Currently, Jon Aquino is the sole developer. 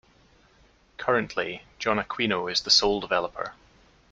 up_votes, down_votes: 2, 0